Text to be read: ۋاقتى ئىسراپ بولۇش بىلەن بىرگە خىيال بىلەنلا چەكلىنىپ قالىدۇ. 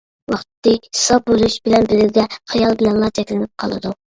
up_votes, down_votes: 0, 2